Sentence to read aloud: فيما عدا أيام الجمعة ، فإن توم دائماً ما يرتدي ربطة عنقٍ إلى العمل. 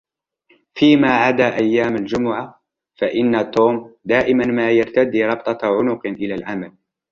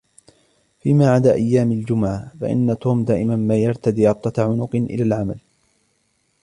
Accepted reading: first